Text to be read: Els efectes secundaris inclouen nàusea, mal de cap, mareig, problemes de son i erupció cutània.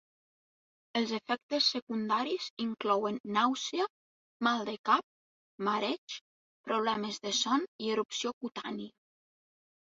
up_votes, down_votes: 2, 0